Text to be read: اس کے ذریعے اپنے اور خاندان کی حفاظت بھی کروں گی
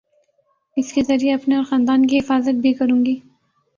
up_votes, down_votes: 2, 0